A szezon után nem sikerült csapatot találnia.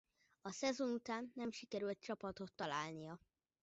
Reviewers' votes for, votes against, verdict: 1, 2, rejected